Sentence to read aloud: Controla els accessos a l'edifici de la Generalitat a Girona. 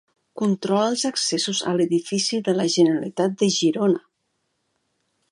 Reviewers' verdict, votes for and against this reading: rejected, 0, 2